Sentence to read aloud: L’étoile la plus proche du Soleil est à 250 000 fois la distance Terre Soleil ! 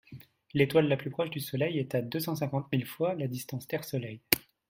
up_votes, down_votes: 0, 2